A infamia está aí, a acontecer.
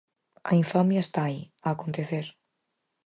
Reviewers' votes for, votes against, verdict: 4, 0, accepted